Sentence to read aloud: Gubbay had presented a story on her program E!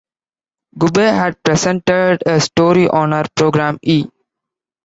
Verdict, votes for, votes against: accepted, 2, 0